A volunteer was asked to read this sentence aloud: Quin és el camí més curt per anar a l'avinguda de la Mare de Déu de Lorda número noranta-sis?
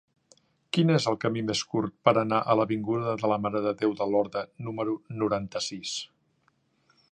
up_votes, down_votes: 2, 0